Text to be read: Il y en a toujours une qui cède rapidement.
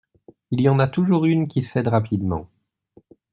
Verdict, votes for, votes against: accepted, 2, 0